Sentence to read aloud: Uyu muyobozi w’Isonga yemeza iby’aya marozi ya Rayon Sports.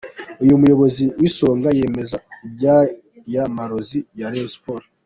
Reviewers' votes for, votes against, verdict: 0, 2, rejected